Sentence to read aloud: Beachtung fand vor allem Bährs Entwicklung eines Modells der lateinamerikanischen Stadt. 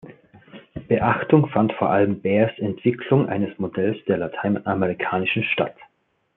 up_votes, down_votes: 2, 0